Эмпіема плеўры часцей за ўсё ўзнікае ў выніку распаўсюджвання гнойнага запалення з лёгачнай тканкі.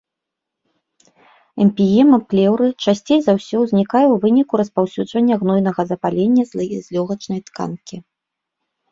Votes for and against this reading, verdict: 0, 2, rejected